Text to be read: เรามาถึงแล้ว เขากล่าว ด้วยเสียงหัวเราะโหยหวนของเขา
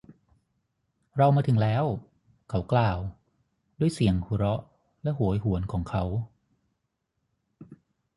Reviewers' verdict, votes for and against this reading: rejected, 3, 3